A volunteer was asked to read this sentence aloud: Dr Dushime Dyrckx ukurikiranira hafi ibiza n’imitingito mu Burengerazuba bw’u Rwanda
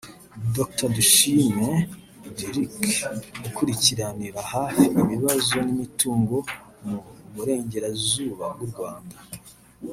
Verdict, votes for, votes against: accepted, 2, 0